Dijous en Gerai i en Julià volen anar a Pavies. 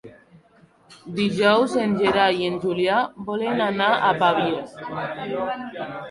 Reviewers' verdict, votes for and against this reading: rejected, 0, 2